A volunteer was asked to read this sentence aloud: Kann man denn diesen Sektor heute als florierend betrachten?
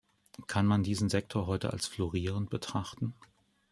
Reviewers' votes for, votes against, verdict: 2, 3, rejected